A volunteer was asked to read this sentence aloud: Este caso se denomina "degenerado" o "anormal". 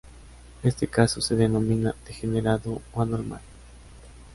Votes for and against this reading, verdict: 2, 0, accepted